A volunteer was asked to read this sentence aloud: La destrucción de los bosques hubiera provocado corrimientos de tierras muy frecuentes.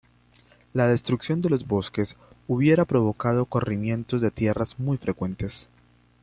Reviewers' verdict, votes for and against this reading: accepted, 2, 1